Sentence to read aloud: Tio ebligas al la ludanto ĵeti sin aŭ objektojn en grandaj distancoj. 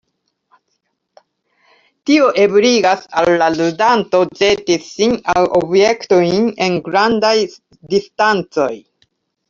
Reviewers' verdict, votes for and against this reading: accepted, 2, 1